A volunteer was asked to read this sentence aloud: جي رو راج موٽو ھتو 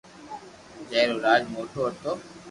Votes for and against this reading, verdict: 2, 0, accepted